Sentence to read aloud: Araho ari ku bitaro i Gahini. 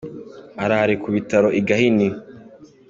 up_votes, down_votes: 2, 0